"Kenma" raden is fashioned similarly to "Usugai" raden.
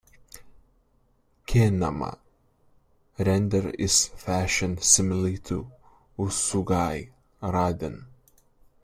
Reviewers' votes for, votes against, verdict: 1, 2, rejected